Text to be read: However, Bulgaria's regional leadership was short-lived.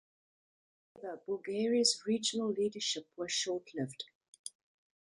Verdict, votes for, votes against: accepted, 2, 1